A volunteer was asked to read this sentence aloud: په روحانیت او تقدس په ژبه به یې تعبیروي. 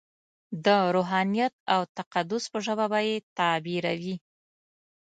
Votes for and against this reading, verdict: 2, 1, accepted